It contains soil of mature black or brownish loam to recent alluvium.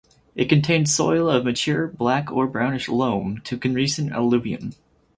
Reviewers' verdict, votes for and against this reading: rejected, 2, 4